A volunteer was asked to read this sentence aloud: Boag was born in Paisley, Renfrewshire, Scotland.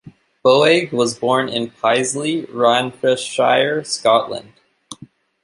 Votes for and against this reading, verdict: 2, 3, rejected